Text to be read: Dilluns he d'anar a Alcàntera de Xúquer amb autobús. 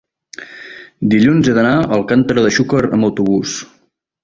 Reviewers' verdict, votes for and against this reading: accepted, 2, 0